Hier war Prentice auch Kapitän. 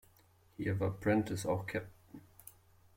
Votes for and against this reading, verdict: 0, 2, rejected